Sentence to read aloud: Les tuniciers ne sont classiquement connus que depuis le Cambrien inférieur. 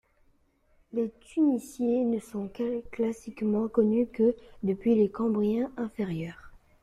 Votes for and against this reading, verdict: 0, 2, rejected